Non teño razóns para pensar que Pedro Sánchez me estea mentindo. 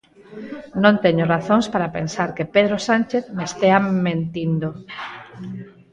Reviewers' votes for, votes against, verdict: 0, 4, rejected